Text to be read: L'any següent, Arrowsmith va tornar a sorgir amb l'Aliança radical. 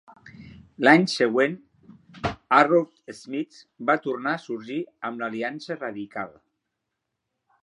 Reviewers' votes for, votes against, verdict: 1, 2, rejected